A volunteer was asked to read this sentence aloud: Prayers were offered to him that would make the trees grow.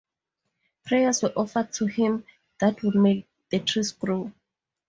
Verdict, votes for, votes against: accepted, 2, 0